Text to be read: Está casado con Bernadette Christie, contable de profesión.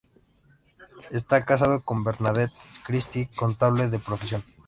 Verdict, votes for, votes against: accepted, 2, 0